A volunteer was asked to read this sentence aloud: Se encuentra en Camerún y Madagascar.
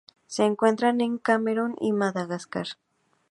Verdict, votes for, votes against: rejected, 0, 2